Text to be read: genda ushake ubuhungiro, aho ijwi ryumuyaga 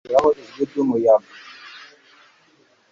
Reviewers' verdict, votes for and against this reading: accepted, 3, 0